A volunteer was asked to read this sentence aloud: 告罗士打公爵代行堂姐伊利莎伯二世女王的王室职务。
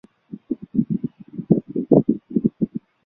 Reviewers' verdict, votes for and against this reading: rejected, 0, 3